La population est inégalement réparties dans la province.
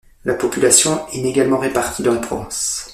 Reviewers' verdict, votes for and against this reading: rejected, 1, 2